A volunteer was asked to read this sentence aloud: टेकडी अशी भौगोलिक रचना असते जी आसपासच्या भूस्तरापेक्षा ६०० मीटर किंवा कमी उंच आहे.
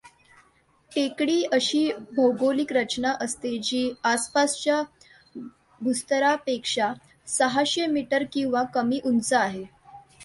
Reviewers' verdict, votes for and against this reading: rejected, 0, 2